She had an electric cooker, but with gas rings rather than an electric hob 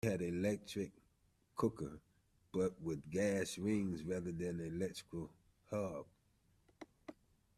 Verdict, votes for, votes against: rejected, 1, 2